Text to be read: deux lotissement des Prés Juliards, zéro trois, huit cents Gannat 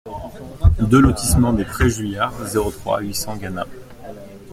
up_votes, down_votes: 2, 0